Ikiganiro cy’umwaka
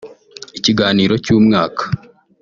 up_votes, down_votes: 2, 1